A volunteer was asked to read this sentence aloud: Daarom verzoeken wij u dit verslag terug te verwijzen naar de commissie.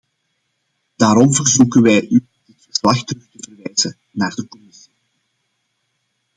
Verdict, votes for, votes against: rejected, 0, 2